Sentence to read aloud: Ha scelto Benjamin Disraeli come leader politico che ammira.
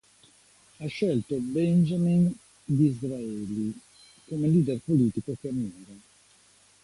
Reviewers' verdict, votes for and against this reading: accepted, 2, 0